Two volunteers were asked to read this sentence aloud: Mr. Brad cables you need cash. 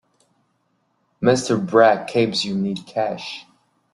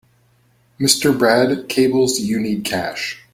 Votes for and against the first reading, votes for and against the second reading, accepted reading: 0, 2, 4, 0, second